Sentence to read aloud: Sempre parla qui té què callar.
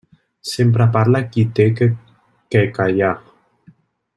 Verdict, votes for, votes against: rejected, 0, 2